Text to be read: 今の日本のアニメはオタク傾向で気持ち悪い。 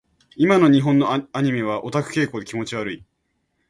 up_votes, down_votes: 1, 2